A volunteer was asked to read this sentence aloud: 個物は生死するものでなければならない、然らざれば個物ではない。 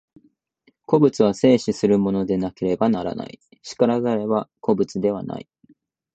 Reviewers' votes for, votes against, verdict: 4, 1, accepted